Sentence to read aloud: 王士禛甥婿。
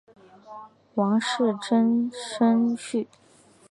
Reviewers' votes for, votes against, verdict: 4, 0, accepted